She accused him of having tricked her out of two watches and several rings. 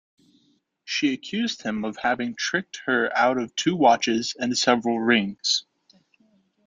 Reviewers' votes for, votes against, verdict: 2, 0, accepted